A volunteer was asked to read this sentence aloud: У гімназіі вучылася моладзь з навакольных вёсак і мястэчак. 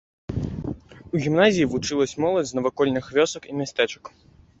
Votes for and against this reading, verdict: 1, 2, rejected